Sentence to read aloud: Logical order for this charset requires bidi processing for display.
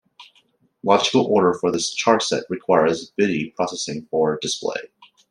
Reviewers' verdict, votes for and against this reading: accepted, 2, 0